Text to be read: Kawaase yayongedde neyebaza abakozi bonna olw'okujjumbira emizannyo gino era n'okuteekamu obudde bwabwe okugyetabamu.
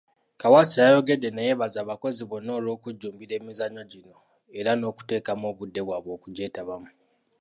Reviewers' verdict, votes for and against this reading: rejected, 0, 2